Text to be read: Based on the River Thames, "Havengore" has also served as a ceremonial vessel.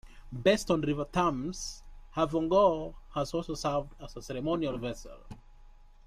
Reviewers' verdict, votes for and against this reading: rejected, 1, 2